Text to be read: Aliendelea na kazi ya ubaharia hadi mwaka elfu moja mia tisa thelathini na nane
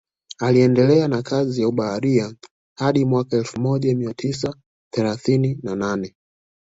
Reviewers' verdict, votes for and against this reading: accepted, 2, 0